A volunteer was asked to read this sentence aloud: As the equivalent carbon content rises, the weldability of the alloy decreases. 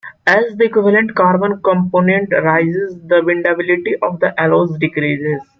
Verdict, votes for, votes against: rejected, 1, 2